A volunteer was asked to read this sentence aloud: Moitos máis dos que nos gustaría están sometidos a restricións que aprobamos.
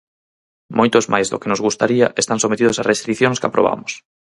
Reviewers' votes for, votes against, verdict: 0, 4, rejected